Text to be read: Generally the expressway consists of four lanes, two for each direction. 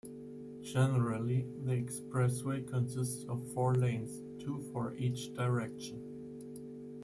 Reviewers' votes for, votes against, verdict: 2, 0, accepted